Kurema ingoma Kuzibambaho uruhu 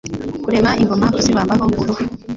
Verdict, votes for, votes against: accepted, 2, 1